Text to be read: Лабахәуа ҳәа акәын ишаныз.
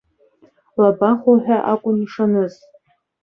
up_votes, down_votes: 2, 0